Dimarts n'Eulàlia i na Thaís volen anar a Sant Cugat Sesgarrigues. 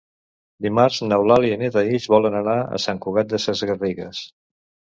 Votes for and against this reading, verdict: 0, 2, rejected